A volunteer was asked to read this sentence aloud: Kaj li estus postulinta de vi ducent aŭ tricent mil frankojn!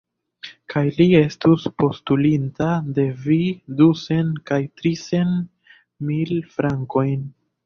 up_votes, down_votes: 1, 2